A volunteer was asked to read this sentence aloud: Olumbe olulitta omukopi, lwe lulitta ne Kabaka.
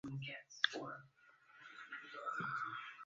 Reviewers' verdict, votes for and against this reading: rejected, 0, 2